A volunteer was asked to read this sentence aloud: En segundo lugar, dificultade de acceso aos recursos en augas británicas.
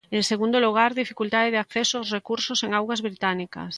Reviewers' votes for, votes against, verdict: 2, 0, accepted